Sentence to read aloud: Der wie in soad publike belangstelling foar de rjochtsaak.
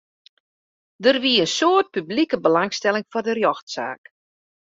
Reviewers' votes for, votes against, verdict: 2, 0, accepted